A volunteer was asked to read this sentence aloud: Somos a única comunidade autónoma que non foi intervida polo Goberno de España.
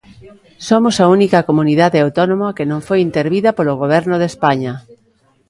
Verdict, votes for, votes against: accepted, 2, 0